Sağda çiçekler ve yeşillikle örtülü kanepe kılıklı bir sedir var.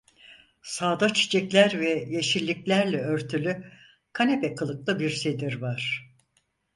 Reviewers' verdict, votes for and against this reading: rejected, 0, 4